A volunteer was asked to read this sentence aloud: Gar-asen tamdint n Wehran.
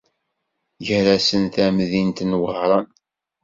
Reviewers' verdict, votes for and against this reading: accepted, 2, 0